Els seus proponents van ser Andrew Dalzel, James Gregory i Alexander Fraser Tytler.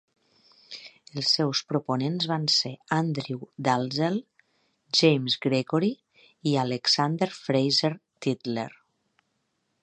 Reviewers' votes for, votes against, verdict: 2, 0, accepted